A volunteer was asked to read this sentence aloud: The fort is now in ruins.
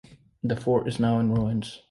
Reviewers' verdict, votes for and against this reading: accepted, 2, 0